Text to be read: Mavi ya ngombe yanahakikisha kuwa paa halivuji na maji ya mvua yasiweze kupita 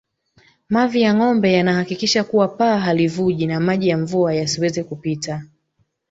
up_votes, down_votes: 3, 0